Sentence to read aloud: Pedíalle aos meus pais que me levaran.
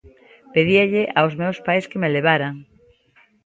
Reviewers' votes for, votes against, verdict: 2, 0, accepted